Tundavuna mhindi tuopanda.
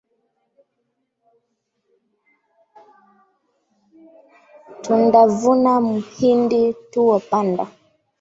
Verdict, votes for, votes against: accepted, 2, 0